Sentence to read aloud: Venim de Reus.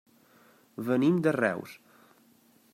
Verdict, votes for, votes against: accepted, 4, 0